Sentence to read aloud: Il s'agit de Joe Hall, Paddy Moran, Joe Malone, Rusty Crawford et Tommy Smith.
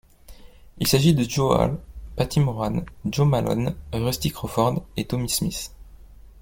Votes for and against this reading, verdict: 1, 2, rejected